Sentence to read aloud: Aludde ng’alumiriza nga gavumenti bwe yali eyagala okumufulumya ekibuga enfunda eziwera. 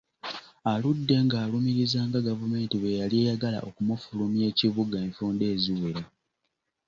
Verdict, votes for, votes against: accepted, 2, 0